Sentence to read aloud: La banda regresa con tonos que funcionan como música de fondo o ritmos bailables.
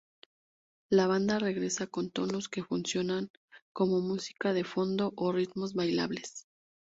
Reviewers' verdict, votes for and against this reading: rejected, 0, 2